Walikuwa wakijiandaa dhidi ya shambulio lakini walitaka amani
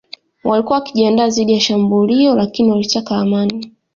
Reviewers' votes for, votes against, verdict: 2, 0, accepted